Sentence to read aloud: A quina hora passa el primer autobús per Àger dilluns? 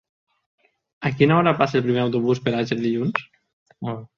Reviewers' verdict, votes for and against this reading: accepted, 6, 0